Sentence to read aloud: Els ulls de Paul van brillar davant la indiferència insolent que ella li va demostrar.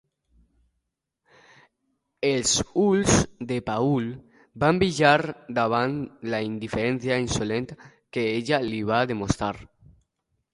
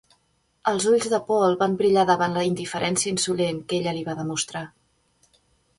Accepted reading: second